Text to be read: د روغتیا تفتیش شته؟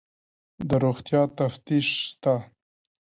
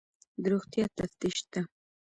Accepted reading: first